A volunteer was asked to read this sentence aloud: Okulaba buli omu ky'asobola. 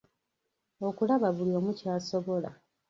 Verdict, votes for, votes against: rejected, 1, 2